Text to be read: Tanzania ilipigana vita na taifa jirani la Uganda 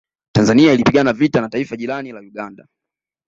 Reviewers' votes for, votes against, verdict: 1, 2, rejected